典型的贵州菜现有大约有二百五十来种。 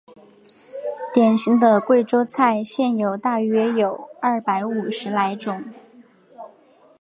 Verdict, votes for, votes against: accepted, 2, 0